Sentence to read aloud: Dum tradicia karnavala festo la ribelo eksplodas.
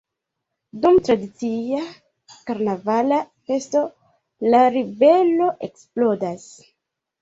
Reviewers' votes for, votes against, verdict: 2, 1, accepted